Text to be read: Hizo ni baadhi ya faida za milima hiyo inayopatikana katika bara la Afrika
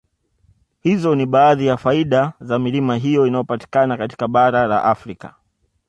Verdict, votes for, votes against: accepted, 2, 0